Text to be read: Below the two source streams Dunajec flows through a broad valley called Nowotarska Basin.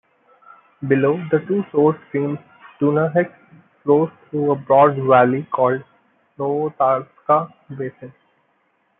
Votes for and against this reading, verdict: 0, 2, rejected